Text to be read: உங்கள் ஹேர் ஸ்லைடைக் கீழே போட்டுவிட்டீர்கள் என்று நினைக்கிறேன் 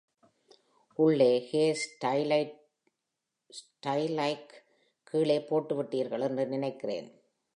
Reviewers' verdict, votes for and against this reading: rejected, 0, 2